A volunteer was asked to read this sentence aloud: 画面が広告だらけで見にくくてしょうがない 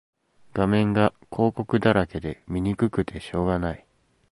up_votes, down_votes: 2, 0